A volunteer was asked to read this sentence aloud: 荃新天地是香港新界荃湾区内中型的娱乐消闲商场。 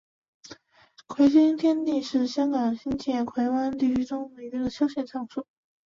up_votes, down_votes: 3, 4